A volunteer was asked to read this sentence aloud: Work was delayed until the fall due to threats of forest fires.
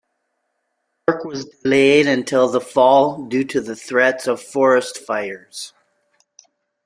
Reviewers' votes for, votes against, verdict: 0, 2, rejected